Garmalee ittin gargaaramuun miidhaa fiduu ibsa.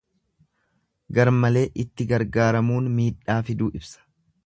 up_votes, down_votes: 1, 2